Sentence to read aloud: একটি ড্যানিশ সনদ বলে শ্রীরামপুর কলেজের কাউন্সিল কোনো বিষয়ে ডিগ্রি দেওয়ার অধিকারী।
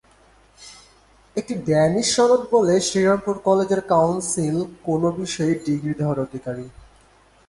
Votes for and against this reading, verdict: 2, 0, accepted